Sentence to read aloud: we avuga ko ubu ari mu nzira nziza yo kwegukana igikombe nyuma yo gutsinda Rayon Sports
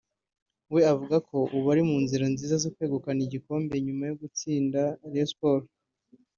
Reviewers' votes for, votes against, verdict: 2, 0, accepted